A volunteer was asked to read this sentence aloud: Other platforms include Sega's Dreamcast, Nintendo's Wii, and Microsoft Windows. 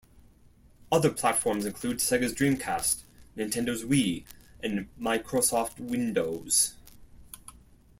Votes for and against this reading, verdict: 1, 2, rejected